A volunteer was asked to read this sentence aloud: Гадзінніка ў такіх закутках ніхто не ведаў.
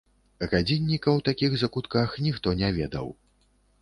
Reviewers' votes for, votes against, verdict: 2, 0, accepted